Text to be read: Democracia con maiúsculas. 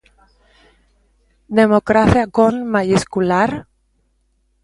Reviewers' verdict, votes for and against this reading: rejected, 0, 2